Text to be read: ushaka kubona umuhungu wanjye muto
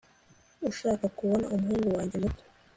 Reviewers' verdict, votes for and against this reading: accepted, 2, 0